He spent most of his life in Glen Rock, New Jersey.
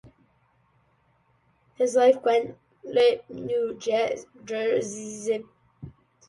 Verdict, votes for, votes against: rejected, 0, 2